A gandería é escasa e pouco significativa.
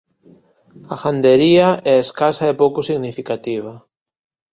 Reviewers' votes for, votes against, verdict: 2, 1, accepted